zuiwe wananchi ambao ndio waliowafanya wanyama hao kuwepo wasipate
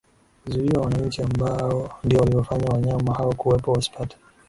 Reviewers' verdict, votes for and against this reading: accepted, 10, 3